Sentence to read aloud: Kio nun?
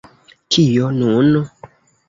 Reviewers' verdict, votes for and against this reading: accepted, 2, 1